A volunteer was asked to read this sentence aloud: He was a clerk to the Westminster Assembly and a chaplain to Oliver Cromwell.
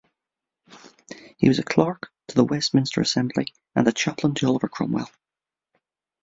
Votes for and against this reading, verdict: 2, 0, accepted